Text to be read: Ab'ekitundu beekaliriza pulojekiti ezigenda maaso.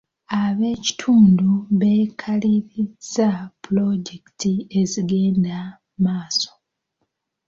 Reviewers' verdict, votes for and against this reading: accepted, 2, 0